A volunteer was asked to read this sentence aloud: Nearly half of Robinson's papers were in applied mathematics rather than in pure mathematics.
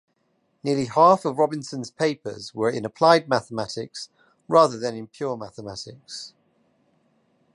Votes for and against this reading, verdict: 2, 0, accepted